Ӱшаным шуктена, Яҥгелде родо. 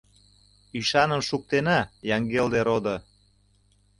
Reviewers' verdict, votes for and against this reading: accepted, 2, 0